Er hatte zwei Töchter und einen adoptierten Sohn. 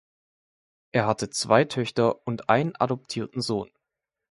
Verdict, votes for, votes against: accepted, 2, 1